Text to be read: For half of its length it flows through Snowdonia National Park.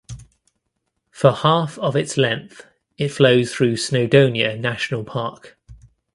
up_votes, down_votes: 2, 0